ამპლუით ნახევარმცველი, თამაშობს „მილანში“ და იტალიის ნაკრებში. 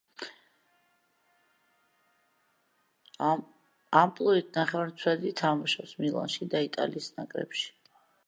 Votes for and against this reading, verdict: 1, 2, rejected